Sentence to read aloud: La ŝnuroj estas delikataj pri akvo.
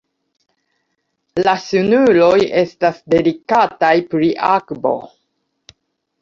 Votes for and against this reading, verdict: 2, 0, accepted